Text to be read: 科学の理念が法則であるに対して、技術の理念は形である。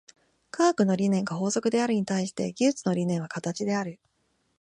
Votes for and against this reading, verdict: 2, 0, accepted